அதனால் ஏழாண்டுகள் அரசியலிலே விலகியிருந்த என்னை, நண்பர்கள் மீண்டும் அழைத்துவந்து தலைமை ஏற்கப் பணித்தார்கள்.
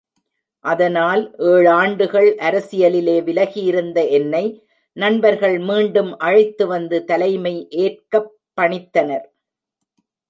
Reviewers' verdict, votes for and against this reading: rejected, 1, 2